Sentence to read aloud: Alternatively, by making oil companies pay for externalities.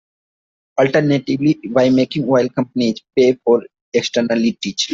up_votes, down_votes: 2, 0